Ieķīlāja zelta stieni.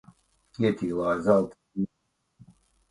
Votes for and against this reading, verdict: 0, 2, rejected